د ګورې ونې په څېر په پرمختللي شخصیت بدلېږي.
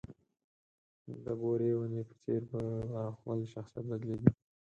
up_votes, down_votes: 2, 6